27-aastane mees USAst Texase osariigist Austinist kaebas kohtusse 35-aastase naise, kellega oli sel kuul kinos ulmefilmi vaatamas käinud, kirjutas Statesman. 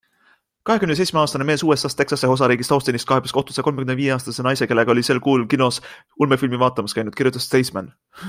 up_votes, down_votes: 0, 2